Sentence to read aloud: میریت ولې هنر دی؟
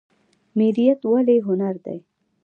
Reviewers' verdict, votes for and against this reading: rejected, 1, 2